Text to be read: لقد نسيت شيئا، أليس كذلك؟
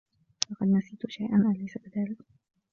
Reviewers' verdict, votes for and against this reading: rejected, 1, 2